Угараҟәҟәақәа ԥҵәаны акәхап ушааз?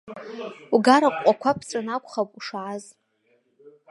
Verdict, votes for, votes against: rejected, 0, 2